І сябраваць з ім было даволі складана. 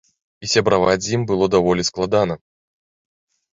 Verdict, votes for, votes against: accepted, 2, 0